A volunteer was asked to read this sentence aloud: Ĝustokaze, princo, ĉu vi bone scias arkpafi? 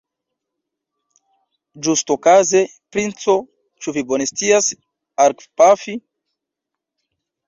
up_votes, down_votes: 2, 0